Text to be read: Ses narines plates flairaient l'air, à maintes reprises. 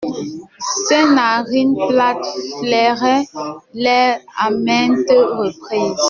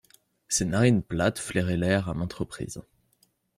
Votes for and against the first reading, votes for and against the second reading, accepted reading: 0, 2, 2, 0, second